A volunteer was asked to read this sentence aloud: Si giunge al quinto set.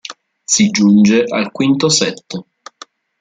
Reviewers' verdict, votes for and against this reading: accepted, 2, 0